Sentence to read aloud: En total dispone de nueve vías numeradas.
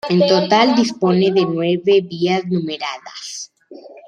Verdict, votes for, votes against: rejected, 0, 2